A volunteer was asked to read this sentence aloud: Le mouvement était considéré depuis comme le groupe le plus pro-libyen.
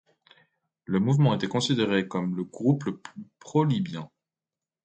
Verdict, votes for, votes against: rejected, 1, 2